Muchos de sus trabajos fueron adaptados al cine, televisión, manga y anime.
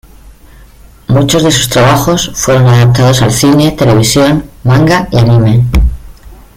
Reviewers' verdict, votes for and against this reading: accepted, 2, 1